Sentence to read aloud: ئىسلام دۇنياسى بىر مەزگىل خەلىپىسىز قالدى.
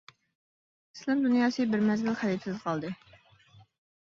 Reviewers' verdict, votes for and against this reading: rejected, 1, 2